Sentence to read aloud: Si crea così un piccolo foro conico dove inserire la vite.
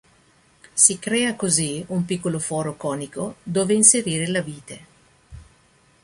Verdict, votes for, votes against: accepted, 2, 0